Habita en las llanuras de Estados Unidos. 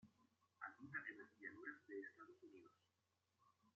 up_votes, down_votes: 0, 2